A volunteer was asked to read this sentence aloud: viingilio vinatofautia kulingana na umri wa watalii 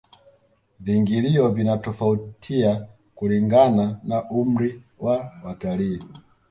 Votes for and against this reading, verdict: 2, 0, accepted